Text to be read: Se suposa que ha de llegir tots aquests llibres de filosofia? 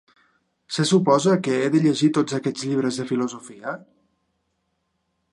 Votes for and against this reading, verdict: 0, 2, rejected